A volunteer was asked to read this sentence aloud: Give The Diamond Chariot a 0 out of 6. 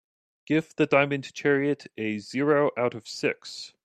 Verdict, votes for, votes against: rejected, 0, 2